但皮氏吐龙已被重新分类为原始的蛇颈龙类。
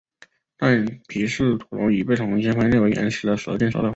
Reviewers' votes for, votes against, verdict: 1, 2, rejected